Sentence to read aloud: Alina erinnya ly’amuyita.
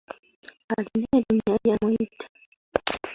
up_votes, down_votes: 1, 2